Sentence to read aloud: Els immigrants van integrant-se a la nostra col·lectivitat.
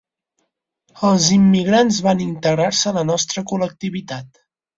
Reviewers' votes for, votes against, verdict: 2, 4, rejected